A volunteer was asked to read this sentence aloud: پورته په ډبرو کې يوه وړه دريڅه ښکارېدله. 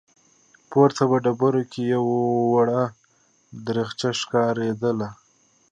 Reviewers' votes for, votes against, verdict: 2, 0, accepted